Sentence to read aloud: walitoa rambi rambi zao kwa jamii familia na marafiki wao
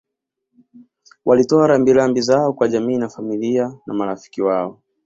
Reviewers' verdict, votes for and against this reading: accepted, 2, 0